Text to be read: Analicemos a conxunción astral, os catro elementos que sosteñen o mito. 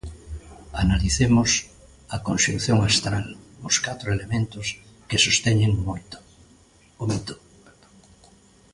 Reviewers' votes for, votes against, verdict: 0, 2, rejected